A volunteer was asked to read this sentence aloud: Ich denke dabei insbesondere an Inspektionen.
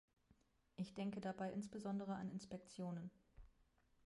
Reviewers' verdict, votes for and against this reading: rejected, 1, 2